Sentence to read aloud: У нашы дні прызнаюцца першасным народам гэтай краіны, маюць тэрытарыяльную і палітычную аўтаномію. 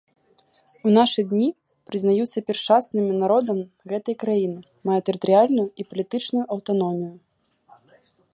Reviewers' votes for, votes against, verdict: 1, 2, rejected